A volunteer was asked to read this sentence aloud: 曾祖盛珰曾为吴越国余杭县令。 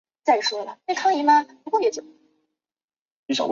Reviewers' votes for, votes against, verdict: 1, 2, rejected